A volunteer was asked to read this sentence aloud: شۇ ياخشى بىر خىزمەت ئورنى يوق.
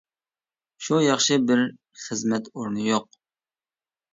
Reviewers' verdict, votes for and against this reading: accepted, 2, 0